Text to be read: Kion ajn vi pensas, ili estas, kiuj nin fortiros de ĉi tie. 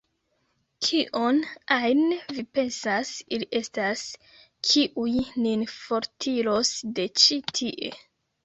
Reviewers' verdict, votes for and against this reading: rejected, 0, 2